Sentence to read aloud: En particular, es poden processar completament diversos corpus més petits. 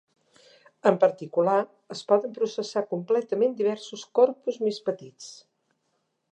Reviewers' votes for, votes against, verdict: 3, 0, accepted